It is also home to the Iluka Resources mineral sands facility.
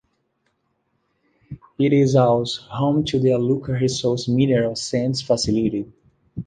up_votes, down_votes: 2, 0